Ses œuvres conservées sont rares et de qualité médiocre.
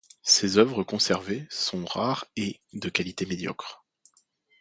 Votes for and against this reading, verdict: 2, 0, accepted